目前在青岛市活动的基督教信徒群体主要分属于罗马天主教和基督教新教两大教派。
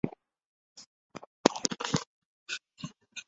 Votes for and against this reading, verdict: 0, 5, rejected